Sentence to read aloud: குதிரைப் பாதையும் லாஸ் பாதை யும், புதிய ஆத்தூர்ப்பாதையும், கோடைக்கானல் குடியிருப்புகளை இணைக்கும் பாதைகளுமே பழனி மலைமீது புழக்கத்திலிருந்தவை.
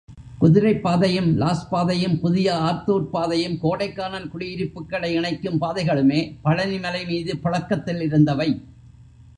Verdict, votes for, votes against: rejected, 1, 2